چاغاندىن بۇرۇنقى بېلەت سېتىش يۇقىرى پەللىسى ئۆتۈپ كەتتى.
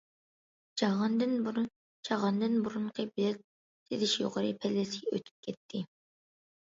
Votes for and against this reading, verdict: 0, 2, rejected